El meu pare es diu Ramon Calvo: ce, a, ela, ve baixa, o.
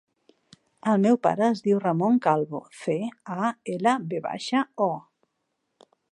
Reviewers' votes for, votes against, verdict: 1, 2, rejected